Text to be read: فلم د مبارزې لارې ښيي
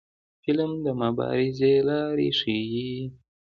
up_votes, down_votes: 2, 1